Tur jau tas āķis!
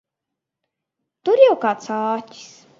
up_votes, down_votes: 0, 2